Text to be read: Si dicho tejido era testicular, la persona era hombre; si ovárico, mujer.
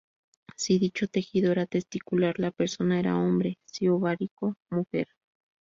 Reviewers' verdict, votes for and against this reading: accepted, 4, 0